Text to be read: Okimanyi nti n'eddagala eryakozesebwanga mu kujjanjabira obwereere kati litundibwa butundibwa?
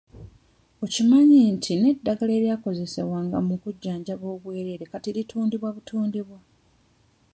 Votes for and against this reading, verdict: 2, 1, accepted